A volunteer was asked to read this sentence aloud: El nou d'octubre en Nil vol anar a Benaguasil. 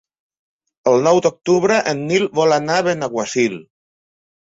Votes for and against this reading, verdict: 3, 0, accepted